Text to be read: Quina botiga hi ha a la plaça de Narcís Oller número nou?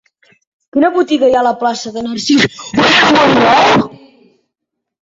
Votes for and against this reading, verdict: 0, 2, rejected